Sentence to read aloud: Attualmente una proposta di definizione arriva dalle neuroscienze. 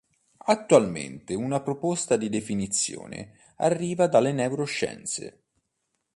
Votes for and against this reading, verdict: 3, 0, accepted